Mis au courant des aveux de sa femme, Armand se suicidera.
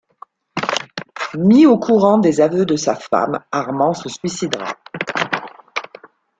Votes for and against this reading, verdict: 3, 2, accepted